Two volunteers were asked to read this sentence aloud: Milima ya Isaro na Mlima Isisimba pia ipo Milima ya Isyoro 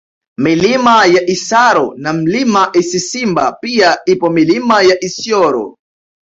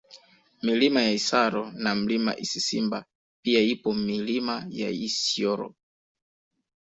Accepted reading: second